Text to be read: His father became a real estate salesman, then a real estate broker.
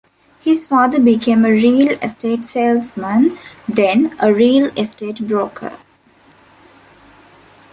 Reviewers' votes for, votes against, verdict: 2, 0, accepted